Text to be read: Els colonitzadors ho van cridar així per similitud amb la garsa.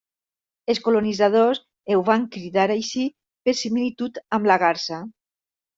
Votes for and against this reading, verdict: 1, 2, rejected